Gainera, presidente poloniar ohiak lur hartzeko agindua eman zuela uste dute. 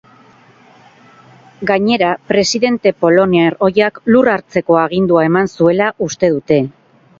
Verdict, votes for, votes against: rejected, 0, 2